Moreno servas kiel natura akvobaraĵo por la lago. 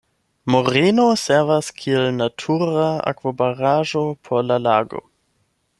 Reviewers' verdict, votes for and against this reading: accepted, 8, 0